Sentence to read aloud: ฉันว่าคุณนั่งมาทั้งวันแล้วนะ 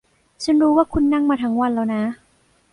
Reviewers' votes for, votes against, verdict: 1, 2, rejected